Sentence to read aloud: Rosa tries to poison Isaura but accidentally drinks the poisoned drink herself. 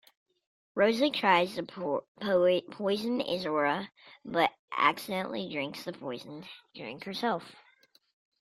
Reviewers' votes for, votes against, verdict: 1, 2, rejected